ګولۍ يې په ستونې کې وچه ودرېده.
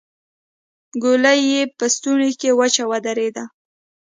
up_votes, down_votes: 2, 0